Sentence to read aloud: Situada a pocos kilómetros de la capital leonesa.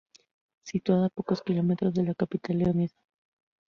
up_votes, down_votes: 0, 2